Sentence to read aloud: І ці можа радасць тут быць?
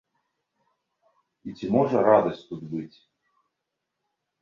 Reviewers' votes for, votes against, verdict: 1, 2, rejected